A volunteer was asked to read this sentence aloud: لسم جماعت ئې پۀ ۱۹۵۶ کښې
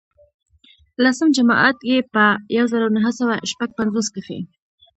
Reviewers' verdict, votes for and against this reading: rejected, 0, 2